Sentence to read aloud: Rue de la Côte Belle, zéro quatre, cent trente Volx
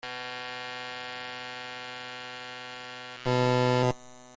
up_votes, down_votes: 0, 2